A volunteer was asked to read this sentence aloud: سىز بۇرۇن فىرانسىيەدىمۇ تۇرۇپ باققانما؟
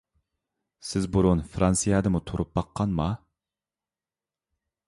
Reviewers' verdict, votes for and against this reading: accepted, 3, 0